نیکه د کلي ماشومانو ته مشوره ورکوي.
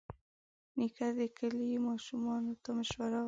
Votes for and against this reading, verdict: 1, 4, rejected